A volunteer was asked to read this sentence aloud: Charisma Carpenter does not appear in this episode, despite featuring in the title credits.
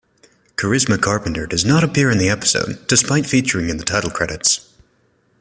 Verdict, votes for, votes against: rejected, 0, 2